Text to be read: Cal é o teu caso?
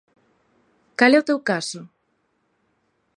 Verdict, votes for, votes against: accepted, 2, 0